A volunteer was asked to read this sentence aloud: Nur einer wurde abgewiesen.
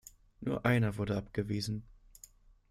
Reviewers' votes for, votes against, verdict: 2, 0, accepted